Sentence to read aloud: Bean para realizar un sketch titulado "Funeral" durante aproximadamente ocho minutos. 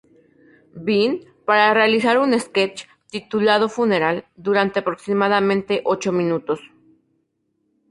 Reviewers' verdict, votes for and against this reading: accepted, 2, 0